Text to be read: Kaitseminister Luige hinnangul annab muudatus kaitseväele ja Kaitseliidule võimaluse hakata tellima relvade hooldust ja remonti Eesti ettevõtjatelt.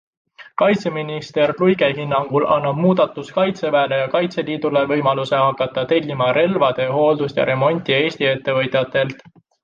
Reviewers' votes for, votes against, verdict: 2, 0, accepted